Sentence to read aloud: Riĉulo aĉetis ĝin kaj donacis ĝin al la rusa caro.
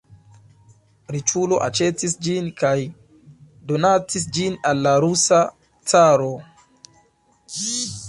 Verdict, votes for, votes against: accepted, 2, 0